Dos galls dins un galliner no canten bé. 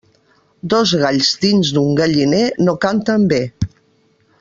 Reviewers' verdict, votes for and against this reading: rejected, 1, 2